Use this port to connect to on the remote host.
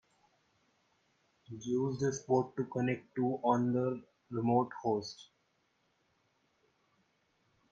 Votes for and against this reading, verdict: 2, 0, accepted